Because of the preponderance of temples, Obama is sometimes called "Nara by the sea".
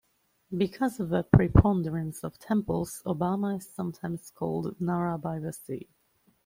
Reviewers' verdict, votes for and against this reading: accepted, 2, 0